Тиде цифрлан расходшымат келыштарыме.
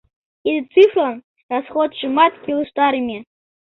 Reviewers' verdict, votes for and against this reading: accepted, 2, 0